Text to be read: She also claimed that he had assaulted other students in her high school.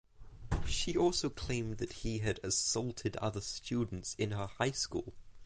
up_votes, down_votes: 6, 0